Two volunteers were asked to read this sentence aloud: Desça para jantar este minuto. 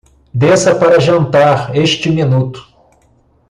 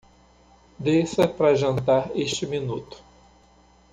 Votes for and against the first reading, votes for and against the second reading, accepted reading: 2, 0, 0, 2, first